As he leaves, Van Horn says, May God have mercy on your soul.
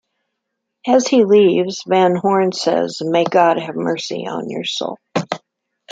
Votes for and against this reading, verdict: 2, 0, accepted